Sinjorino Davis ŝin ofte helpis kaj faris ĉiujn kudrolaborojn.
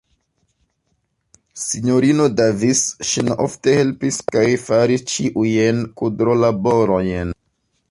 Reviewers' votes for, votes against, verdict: 0, 2, rejected